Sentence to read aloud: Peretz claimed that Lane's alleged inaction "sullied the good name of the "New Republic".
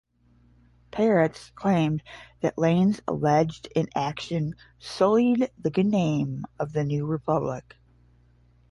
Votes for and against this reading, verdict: 5, 10, rejected